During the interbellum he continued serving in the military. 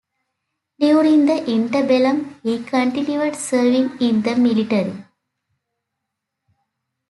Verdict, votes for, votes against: accepted, 2, 0